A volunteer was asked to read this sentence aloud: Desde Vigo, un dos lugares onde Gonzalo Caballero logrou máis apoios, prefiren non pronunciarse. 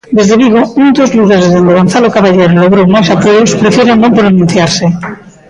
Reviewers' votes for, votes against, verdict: 0, 2, rejected